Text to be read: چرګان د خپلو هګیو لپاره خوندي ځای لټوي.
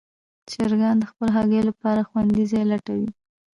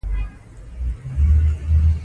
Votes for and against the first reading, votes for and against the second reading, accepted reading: 2, 0, 1, 2, first